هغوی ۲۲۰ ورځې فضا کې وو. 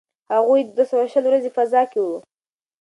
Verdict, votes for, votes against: rejected, 0, 2